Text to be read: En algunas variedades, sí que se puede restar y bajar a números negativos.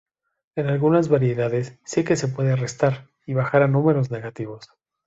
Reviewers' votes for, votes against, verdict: 2, 0, accepted